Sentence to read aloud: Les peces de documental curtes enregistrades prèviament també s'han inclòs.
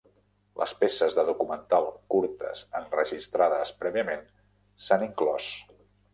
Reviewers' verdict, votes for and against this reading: rejected, 0, 2